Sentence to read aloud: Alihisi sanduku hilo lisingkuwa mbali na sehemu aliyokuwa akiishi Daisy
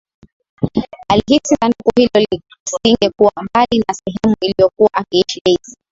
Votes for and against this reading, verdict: 0, 2, rejected